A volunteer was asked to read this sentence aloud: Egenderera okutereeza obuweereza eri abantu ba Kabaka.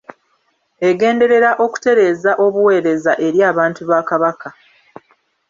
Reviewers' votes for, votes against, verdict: 2, 0, accepted